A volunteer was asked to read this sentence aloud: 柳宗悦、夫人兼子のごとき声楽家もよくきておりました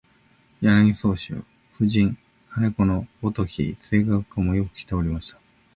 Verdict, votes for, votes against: accepted, 2, 1